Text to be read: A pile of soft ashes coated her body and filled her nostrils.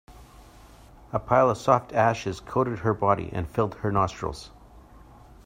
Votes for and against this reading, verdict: 2, 0, accepted